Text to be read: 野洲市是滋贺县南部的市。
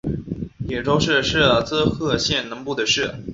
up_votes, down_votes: 4, 2